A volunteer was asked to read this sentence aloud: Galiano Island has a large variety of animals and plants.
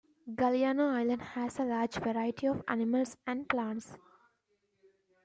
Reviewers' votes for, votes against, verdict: 2, 0, accepted